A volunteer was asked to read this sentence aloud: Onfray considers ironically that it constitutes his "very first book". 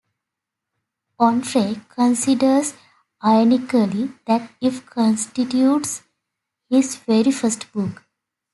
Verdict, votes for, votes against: accepted, 2, 1